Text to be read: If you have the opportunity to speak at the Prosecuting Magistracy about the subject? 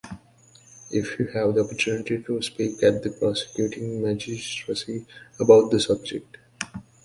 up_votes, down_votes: 3, 0